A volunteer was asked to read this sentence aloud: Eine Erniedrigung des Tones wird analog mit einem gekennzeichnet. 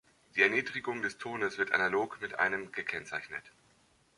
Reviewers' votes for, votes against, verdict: 1, 2, rejected